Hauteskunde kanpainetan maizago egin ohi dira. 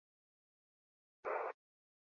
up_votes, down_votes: 0, 4